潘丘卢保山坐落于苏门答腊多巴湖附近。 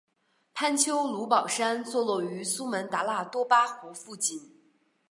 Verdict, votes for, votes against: accepted, 2, 0